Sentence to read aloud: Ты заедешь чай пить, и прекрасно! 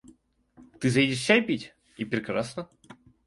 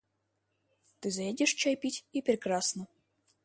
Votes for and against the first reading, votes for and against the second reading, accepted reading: 0, 2, 2, 0, second